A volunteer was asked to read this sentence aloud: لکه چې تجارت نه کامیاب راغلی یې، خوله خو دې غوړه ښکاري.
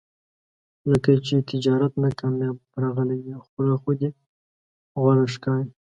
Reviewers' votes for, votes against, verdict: 1, 2, rejected